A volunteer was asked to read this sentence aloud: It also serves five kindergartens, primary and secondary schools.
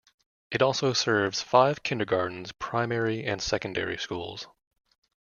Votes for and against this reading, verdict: 2, 0, accepted